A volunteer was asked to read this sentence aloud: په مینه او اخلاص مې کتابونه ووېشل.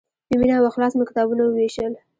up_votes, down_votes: 2, 0